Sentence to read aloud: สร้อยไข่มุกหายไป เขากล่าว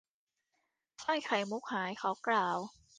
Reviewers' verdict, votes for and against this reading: rejected, 0, 2